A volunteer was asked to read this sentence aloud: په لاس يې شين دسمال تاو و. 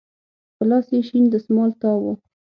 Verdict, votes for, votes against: accepted, 6, 3